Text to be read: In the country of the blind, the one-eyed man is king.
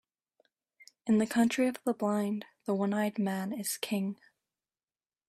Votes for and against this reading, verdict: 2, 0, accepted